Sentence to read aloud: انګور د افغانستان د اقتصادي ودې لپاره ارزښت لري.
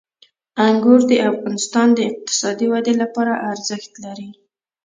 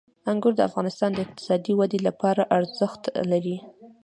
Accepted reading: first